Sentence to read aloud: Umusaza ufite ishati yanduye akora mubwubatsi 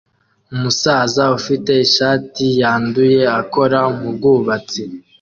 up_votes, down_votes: 2, 0